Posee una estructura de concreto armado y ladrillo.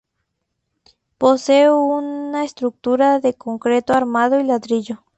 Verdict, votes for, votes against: accepted, 4, 0